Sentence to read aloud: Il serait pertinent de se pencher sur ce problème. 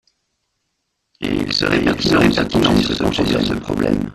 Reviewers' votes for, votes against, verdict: 0, 2, rejected